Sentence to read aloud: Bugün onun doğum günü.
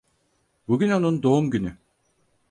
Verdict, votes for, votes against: accepted, 4, 0